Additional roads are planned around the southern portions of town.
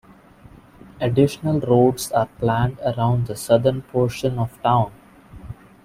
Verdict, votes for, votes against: rejected, 0, 2